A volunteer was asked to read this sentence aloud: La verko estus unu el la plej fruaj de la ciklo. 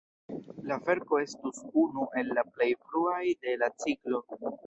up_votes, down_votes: 2, 0